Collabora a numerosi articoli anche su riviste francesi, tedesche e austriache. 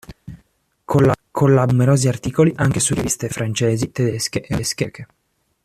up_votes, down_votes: 0, 2